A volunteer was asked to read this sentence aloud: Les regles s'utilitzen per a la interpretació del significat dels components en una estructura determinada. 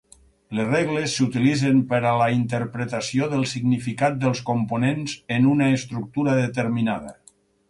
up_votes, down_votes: 6, 0